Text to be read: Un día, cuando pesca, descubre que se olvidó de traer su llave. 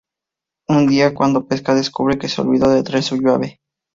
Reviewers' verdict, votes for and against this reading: accepted, 4, 0